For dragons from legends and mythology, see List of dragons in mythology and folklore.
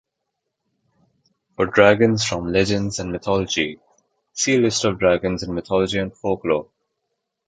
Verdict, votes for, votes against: accepted, 2, 0